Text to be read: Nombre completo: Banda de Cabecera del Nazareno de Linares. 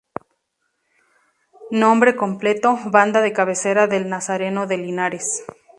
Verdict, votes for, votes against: rejected, 0, 2